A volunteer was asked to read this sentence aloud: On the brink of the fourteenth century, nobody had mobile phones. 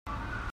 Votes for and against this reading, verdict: 0, 2, rejected